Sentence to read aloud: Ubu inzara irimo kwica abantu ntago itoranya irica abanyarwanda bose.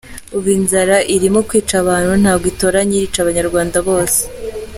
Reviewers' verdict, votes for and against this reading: accepted, 2, 0